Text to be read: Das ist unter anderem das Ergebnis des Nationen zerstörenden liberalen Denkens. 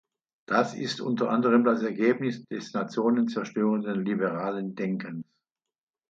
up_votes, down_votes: 0, 2